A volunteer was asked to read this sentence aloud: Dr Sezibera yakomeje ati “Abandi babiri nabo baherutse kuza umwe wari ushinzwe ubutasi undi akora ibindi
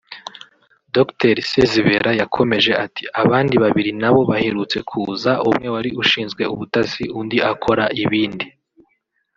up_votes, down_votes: 3, 0